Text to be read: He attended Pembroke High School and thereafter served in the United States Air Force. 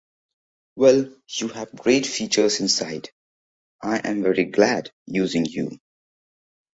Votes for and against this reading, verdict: 0, 2, rejected